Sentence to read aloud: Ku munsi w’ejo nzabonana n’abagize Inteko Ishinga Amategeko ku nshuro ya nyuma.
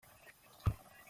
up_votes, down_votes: 0, 2